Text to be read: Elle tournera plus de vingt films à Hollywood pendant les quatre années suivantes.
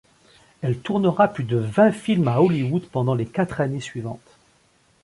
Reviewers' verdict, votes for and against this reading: accepted, 2, 0